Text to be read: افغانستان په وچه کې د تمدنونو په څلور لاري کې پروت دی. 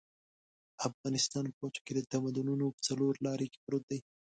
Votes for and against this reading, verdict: 2, 0, accepted